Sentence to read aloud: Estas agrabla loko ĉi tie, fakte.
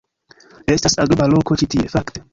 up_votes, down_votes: 0, 2